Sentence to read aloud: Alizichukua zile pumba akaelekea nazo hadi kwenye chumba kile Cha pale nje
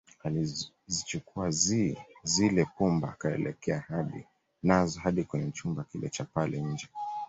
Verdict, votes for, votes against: accepted, 2, 1